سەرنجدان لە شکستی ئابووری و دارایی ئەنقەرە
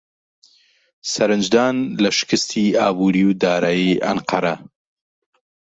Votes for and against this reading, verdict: 2, 0, accepted